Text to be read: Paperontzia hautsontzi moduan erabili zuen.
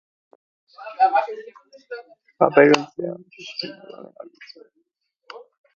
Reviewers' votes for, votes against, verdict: 0, 2, rejected